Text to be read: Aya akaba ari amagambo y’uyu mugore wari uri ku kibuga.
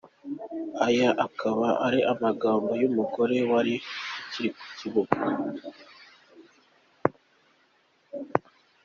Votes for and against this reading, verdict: 2, 0, accepted